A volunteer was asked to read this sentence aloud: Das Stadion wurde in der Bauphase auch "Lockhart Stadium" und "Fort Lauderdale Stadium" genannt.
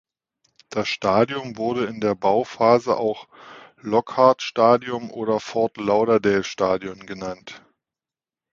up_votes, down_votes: 1, 2